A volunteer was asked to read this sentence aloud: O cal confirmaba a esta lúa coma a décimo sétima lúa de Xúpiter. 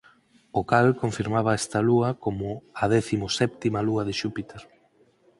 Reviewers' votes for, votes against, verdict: 4, 0, accepted